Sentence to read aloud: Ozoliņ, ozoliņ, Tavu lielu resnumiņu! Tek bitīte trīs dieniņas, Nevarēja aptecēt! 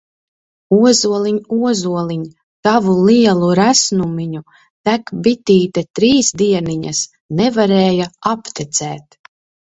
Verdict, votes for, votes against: accepted, 2, 0